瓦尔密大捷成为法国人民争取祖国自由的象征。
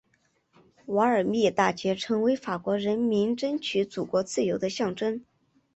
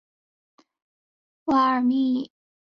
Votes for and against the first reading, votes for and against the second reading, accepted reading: 3, 1, 2, 3, first